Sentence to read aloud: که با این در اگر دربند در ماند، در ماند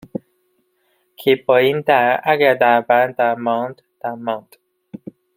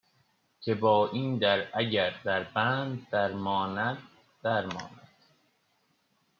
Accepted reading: second